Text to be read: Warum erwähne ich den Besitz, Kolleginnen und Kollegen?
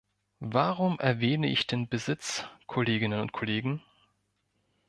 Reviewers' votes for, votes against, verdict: 2, 0, accepted